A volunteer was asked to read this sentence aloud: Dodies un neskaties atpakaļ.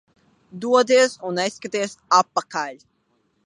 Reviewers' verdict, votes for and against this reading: rejected, 1, 2